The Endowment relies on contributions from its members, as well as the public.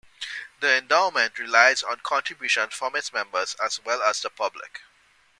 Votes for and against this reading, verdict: 2, 0, accepted